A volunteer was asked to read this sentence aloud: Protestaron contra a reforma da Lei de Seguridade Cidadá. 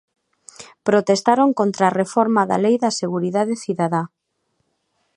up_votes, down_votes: 0, 2